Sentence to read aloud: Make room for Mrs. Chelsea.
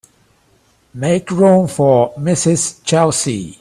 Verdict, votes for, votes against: accepted, 3, 0